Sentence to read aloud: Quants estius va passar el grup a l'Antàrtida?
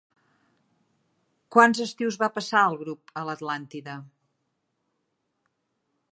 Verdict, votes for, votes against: rejected, 0, 3